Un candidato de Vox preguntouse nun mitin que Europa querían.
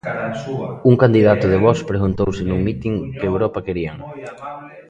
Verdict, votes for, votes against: rejected, 0, 2